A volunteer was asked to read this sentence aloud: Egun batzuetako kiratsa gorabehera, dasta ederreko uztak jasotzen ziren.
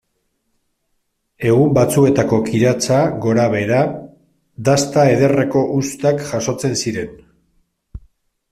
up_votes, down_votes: 3, 0